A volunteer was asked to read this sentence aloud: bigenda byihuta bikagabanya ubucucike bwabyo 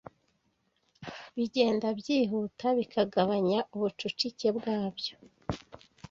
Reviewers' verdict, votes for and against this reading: rejected, 1, 2